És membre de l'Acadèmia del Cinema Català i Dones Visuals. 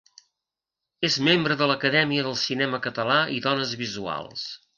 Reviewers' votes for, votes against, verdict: 2, 0, accepted